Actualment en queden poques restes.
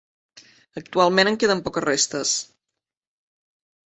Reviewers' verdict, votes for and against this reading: accepted, 4, 0